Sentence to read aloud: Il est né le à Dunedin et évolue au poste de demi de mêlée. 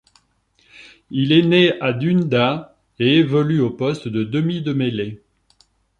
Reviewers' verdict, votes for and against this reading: rejected, 0, 3